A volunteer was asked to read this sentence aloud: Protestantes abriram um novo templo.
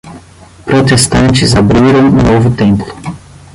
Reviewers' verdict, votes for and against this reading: rejected, 5, 10